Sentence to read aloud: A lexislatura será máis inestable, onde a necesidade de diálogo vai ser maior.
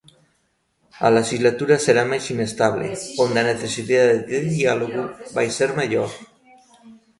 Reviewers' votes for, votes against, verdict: 1, 2, rejected